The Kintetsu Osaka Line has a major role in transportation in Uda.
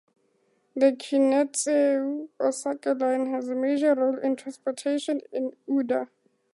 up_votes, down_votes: 2, 0